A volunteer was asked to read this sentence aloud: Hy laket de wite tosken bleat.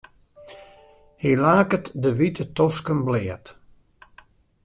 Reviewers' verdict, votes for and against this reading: rejected, 0, 2